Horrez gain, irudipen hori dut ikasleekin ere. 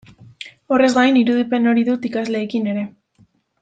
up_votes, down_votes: 2, 0